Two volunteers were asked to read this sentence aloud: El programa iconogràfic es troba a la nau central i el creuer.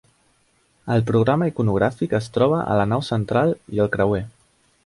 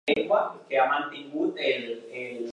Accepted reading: first